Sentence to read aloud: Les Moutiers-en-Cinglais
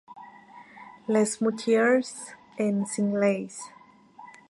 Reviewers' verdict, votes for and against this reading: rejected, 0, 2